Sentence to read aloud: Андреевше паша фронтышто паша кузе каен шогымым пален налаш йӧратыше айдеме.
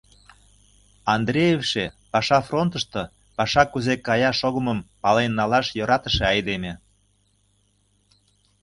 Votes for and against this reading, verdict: 0, 2, rejected